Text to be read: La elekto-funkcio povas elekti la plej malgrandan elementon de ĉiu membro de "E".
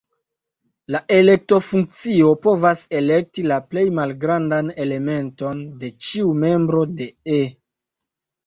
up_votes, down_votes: 2, 0